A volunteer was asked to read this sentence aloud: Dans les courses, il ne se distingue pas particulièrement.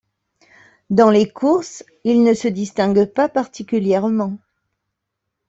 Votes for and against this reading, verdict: 2, 0, accepted